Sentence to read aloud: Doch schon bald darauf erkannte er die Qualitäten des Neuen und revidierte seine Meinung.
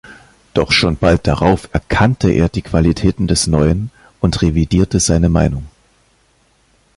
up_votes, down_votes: 2, 0